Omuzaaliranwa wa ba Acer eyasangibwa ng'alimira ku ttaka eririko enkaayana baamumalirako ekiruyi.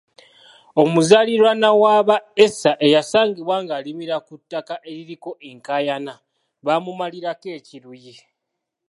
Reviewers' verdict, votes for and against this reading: accepted, 2, 0